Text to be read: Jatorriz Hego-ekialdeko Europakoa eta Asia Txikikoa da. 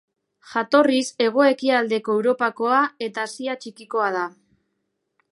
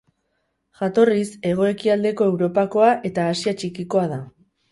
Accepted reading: first